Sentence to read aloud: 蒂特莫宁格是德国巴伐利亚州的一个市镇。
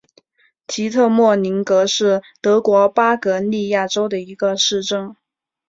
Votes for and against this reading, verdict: 3, 0, accepted